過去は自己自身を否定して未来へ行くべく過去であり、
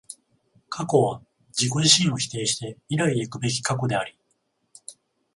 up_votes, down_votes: 0, 14